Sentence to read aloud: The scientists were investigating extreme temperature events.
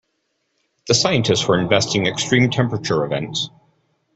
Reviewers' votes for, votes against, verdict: 0, 2, rejected